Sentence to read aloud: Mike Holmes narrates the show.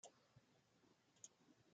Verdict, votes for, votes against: rejected, 0, 2